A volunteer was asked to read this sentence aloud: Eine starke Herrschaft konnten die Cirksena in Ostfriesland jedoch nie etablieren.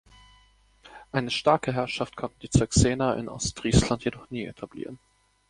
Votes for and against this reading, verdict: 0, 2, rejected